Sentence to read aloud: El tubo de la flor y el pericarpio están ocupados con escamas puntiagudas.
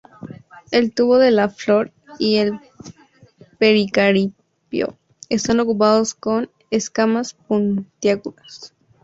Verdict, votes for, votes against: accepted, 2, 0